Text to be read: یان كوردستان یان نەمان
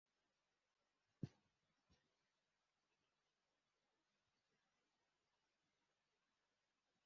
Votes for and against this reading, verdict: 0, 2, rejected